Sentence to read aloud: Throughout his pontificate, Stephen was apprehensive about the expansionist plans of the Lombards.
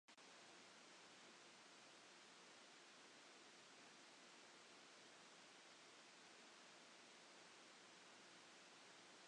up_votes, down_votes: 0, 2